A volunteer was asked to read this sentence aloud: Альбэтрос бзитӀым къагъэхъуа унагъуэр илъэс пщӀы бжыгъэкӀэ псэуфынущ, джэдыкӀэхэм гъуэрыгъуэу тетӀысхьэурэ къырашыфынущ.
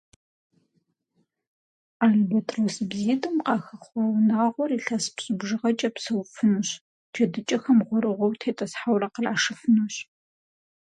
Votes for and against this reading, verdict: 0, 4, rejected